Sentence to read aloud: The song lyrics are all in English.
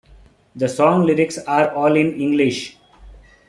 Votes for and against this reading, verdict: 2, 0, accepted